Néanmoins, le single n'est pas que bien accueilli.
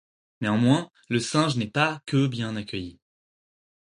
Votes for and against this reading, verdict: 2, 4, rejected